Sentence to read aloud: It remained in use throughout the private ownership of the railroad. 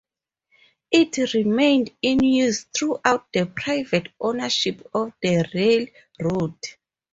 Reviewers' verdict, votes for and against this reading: accepted, 2, 0